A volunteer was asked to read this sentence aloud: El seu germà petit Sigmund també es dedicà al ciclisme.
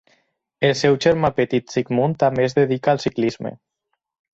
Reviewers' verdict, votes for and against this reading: rejected, 0, 4